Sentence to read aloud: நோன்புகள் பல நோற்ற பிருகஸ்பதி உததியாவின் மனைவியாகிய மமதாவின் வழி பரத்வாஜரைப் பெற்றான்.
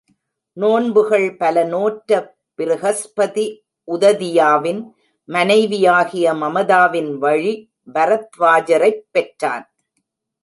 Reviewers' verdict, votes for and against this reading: rejected, 1, 2